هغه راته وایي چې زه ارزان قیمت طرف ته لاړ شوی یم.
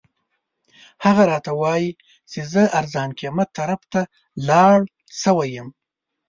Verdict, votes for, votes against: accepted, 2, 1